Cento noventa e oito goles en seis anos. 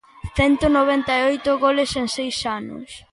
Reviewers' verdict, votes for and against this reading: accepted, 2, 0